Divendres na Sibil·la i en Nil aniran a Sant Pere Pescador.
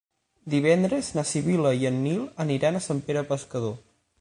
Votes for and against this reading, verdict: 9, 0, accepted